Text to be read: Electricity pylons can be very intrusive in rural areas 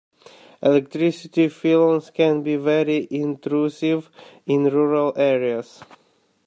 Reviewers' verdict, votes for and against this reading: rejected, 0, 2